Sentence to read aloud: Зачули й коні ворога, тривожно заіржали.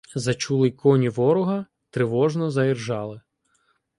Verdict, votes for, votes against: accepted, 2, 0